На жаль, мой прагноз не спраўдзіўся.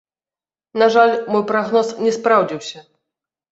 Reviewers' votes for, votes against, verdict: 0, 2, rejected